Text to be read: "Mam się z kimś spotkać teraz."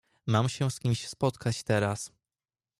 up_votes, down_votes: 2, 0